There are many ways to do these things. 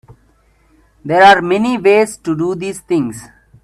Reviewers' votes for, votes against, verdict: 4, 1, accepted